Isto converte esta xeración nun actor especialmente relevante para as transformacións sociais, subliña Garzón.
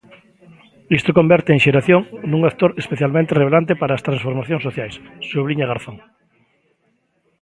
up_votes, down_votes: 0, 2